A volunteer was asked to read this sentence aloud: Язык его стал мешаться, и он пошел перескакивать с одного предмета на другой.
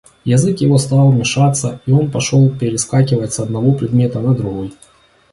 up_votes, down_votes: 2, 0